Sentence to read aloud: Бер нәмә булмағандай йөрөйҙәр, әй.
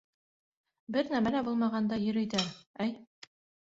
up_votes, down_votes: 1, 3